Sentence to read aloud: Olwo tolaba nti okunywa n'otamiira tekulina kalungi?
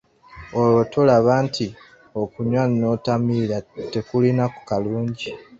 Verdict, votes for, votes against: rejected, 2, 3